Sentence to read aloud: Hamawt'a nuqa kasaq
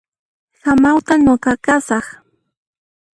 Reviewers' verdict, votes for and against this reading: rejected, 0, 2